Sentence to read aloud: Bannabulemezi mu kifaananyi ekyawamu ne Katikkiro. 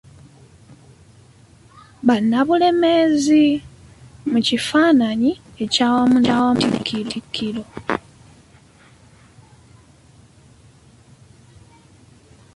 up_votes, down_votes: 0, 2